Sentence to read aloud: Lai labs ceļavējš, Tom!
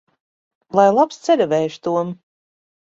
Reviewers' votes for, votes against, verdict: 2, 0, accepted